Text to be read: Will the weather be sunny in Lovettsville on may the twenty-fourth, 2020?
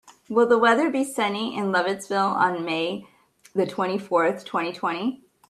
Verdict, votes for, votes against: rejected, 0, 2